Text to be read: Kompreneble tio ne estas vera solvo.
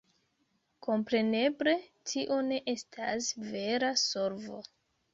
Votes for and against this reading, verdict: 1, 2, rejected